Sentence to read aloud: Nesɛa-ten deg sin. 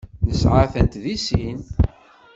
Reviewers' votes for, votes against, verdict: 1, 2, rejected